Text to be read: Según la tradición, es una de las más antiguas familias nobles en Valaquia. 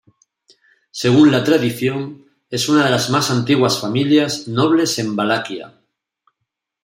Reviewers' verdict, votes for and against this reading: rejected, 1, 2